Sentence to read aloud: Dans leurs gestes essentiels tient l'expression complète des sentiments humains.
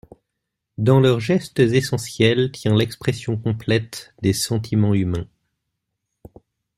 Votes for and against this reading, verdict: 2, 0, accepted